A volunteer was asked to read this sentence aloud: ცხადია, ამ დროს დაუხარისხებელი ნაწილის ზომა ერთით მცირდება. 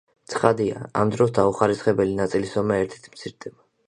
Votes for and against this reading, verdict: 2, 0, accepted